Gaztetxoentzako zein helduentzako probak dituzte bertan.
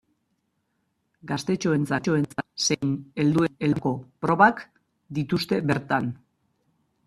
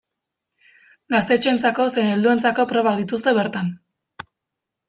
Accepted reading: second